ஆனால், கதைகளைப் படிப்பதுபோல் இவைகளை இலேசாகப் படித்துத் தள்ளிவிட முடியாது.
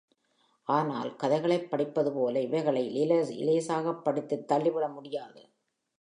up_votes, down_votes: 3, 4